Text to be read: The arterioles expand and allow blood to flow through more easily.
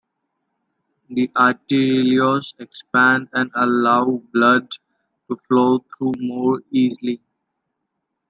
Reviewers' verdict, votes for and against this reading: rejected, 1, 2